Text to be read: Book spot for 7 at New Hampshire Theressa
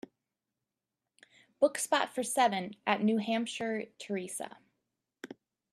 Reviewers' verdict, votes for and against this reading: rejected, 0, 2